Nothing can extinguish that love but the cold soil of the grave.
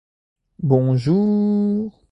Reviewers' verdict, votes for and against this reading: rejected, 0, 2